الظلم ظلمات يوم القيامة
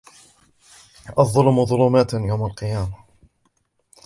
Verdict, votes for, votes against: accepted, 3, 0